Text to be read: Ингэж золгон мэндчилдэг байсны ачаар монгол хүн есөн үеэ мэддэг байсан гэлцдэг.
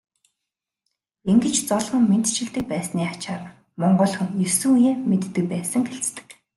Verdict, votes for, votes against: accepted, 2, 0